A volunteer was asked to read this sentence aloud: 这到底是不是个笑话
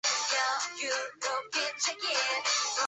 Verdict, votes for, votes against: rejected, 0, 2